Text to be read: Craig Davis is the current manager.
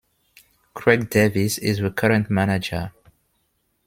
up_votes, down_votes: 2, 0